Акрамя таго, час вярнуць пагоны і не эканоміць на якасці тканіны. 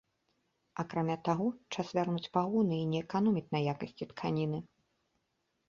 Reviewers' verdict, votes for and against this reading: accepted, 2, 0